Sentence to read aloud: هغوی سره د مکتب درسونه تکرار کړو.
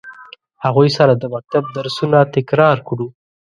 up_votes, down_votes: 0, 2